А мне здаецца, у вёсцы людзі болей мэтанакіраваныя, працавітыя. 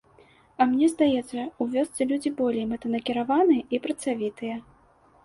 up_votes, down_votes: 0, 2